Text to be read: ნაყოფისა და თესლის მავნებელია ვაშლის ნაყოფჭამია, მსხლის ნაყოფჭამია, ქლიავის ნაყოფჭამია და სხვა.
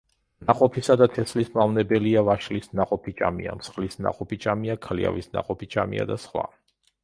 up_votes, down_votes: 0, 2